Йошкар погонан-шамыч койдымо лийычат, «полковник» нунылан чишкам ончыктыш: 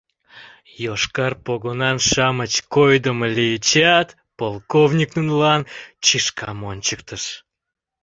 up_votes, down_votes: 2, 0